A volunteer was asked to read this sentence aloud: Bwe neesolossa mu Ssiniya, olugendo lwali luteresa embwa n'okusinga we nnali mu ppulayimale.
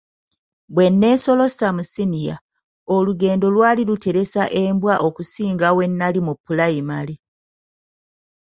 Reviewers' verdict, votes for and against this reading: rejected, 1, 2